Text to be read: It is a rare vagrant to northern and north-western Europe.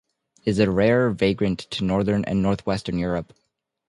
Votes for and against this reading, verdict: 2, 0, accepted